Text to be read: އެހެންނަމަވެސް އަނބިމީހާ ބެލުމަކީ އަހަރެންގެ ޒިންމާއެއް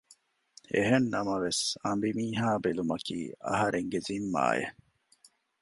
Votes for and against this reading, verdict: 2, 0, accepted